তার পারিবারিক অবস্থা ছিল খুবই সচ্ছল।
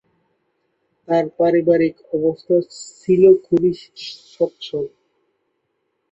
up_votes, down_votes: 1, 4